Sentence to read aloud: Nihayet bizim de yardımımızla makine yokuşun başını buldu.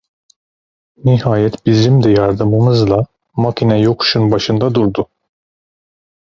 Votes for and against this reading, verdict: 0, 2, rejected